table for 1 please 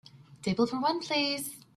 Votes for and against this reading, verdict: 0, 2, rejected